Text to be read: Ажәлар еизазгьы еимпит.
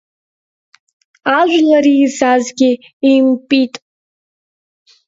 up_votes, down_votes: 2, 1